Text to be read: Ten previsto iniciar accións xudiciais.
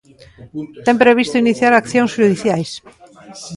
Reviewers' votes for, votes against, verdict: 2, 1, accepted